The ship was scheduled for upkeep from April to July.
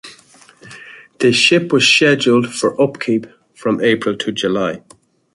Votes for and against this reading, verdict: 1, 2, rejected